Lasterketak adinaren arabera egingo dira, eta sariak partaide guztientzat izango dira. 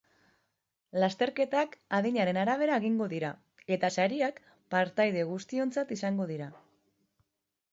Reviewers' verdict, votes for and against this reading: accepted, 2, 0